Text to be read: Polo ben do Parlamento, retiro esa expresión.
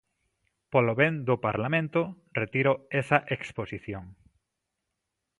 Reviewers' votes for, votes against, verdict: 0, 2, rejected